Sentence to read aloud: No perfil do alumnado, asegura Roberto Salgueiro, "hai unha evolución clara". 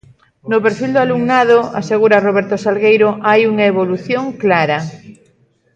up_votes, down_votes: 1, 2